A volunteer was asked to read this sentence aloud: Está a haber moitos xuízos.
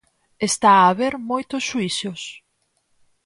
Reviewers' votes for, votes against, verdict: 0, 4, rejected